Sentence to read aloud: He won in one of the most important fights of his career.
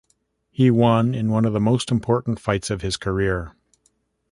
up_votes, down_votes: 2, 0